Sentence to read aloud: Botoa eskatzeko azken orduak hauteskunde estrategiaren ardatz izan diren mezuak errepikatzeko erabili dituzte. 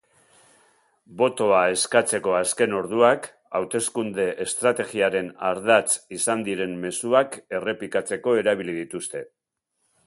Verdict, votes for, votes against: accepted, 2, 0